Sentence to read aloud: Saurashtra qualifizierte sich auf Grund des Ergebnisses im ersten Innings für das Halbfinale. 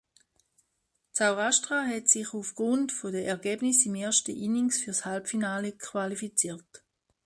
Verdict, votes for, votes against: rejected, 0, 2